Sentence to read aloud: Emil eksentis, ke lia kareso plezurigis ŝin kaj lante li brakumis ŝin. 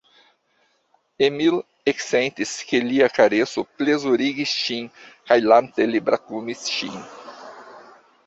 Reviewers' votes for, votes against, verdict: 2, 0, accepted